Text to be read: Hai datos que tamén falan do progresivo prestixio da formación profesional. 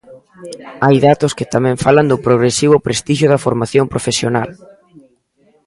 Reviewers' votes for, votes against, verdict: 2, 0, accepted